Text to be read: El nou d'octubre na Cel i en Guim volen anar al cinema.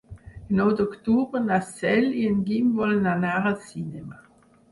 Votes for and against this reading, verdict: 2, 4, rejected